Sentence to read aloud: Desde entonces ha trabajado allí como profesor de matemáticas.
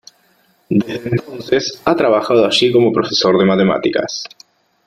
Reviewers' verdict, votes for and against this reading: accepted, 3, 0